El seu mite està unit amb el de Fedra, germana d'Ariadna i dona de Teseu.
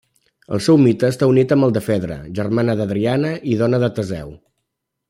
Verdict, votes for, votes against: rejected, 0, 2